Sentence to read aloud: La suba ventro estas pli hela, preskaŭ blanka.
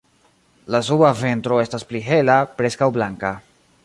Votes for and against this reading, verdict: 2, 0, accepted